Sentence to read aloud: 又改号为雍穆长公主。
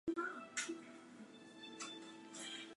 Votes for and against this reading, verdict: 0, 2, rejected